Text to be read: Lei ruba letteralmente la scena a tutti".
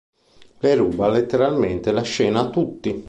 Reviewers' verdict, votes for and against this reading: accepted, 2, 0